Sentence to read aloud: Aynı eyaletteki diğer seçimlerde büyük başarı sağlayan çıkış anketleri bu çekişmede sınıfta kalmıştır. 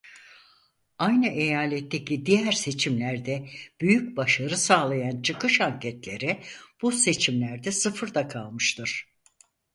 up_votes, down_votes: 2, 4